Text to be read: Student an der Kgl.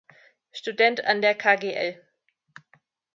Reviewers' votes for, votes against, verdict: 2, 0, accepted